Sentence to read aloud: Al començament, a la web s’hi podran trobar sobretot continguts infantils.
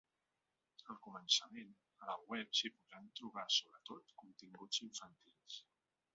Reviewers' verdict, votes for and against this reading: accepted, 3, 1